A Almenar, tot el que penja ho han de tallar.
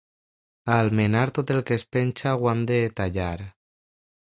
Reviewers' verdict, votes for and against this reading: accepted, 2, 0